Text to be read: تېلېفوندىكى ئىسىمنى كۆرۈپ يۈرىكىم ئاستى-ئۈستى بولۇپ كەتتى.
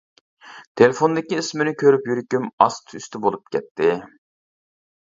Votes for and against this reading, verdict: 1, 2, rejected